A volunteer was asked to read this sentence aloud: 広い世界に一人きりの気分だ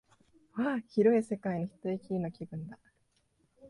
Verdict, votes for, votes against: rejected, 1, 2